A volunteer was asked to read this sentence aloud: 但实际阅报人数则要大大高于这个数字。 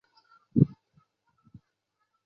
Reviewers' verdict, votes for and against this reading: rejected, 0, 6